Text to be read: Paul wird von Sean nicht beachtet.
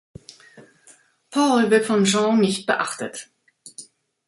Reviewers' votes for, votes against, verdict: 0, 2, rejected